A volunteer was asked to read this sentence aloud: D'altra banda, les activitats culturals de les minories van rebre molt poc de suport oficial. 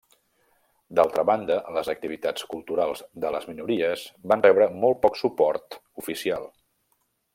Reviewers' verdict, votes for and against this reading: rejected, 0, 2